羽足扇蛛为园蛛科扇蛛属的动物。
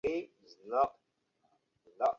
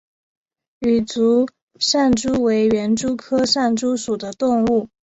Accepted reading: second